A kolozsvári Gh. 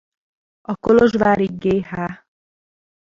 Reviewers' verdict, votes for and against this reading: rejected, 0, 2